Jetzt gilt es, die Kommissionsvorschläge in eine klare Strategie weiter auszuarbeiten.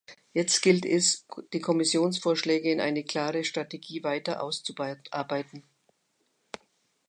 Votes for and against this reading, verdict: 0, 2, rejected